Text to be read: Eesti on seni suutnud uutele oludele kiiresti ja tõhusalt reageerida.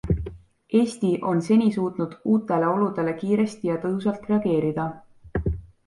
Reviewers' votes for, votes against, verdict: 2, 0, accepted